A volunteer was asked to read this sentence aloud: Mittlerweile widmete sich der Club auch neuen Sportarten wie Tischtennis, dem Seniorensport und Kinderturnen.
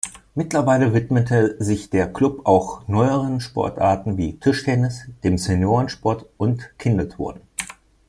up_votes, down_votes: 0, 2